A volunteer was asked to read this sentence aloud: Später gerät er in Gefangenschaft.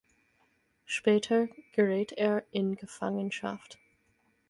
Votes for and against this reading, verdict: 4, 0, accepted